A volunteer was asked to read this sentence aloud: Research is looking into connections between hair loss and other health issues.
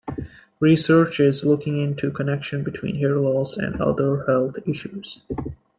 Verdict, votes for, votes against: accepted, 2, 1